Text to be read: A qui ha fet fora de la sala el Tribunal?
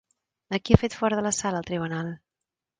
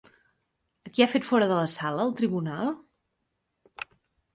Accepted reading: first